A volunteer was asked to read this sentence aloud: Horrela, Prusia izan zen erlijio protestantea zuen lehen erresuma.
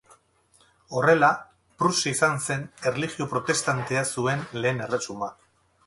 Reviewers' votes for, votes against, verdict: 2, 2, rejected